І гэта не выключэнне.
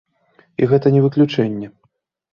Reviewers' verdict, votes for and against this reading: accepted, 2, 0